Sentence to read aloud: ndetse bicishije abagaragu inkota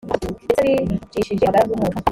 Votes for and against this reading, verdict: 0, 2, rejected